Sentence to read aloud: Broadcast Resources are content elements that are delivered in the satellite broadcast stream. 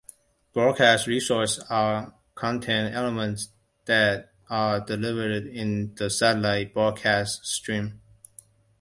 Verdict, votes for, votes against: rejected, 1, 2